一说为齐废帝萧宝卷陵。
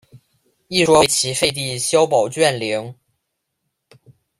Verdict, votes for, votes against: rejected, 0, 2